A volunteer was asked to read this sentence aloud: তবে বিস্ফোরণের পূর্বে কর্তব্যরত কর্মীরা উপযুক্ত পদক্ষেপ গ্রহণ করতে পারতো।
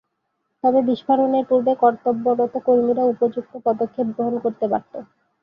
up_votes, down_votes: 0, 2